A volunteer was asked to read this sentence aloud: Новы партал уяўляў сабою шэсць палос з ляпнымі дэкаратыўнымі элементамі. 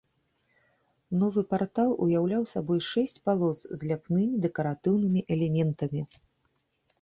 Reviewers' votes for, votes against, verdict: 2, 0, accepted